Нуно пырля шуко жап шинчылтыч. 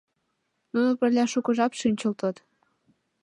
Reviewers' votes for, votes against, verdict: 2, 1, accepted